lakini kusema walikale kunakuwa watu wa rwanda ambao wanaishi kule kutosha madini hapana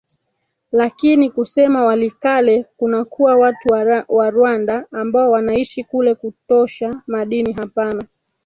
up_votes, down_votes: 0, 3